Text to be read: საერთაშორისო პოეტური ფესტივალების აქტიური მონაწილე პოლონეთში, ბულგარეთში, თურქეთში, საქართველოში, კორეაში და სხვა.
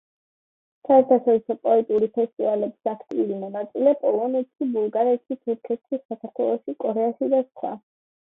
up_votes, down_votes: 0, 2